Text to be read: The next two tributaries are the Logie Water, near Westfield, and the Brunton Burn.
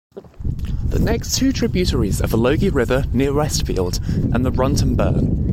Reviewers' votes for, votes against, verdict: 0, 2, rejected